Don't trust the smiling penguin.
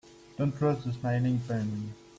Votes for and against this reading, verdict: 1, 2, rejected